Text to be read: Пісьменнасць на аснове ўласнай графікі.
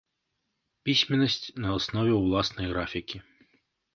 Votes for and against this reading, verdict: 1, 2, rejected